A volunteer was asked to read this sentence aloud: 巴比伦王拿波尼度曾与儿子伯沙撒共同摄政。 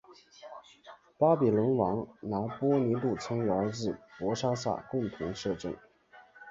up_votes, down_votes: 2, 0